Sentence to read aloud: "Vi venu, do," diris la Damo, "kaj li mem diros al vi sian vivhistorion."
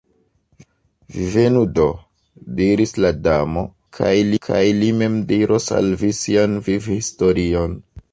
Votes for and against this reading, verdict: 1, 2, rejected